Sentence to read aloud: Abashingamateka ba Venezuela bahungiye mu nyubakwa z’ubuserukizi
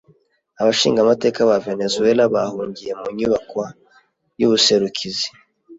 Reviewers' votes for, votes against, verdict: 0, 2, rejected